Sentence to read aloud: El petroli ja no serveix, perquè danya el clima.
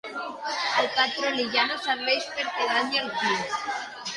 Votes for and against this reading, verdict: 0, 2, rejected